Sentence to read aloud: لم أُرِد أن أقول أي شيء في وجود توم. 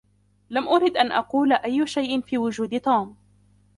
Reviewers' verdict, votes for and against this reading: rejected, 0, 2